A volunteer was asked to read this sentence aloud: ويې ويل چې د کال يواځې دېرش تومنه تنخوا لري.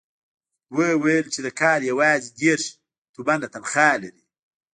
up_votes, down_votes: 2, 0